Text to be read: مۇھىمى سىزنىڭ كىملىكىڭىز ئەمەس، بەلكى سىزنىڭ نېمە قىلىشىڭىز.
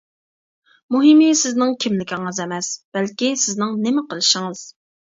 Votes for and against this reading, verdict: 2, 0, accepted